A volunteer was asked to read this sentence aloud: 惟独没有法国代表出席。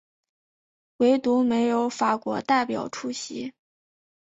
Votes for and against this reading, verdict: 6, 0, accepted